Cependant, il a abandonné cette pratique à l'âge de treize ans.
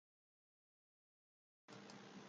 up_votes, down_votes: 0, 2